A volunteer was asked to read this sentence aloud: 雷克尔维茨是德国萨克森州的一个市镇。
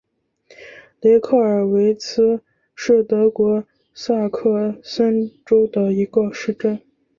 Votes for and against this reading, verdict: 7, 0, accepted